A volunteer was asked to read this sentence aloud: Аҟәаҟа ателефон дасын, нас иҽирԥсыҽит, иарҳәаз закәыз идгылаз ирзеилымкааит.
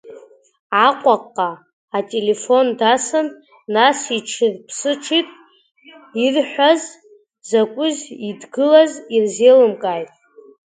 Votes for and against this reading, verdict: 0, 2, rejected